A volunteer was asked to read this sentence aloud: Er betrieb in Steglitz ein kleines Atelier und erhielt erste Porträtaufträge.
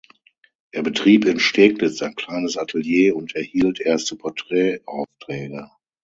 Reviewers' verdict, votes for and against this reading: accepted, 6, 3